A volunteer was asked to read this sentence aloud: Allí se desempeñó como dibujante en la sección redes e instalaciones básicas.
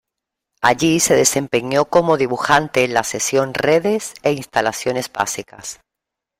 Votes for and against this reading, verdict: 0, 2, rejected